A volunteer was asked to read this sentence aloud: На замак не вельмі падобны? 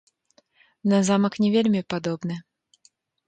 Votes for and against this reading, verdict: 2, 0, accepted